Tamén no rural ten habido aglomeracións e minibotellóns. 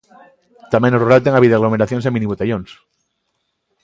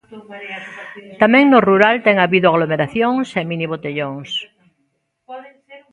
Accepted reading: first